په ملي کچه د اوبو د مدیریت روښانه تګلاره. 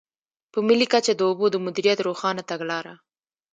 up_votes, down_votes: 2, 0